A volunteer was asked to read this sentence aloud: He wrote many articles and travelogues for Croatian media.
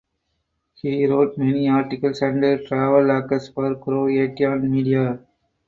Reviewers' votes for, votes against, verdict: 0, 4, rejected